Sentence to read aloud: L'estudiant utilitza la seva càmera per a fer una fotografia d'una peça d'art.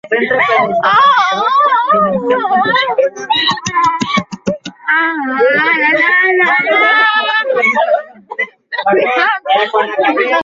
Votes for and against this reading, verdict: 0, 3, rejected